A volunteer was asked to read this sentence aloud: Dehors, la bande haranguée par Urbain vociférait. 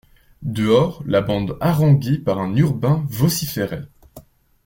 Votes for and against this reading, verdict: 0, 2, rejected